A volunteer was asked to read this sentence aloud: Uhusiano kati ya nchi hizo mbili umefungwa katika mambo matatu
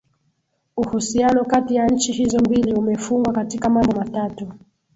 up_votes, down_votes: 2, 0